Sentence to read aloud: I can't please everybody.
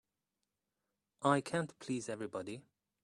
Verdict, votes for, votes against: accepted, 2, 0